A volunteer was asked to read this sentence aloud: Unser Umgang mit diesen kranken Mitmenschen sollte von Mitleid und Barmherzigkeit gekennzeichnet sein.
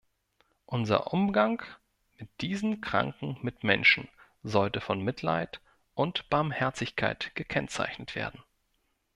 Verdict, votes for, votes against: rejected, 0, 2